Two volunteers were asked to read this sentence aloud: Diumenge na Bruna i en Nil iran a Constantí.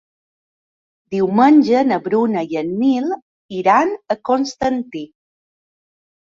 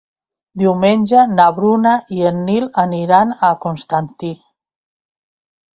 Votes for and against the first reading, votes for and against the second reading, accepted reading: 3, 0, 1, 2, first